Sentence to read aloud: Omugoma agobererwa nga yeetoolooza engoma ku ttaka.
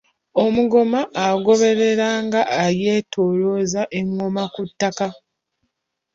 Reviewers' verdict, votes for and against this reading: rejected, 0, 2